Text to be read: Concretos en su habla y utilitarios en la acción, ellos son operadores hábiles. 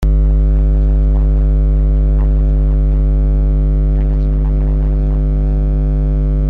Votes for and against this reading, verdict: 0, 2, rejected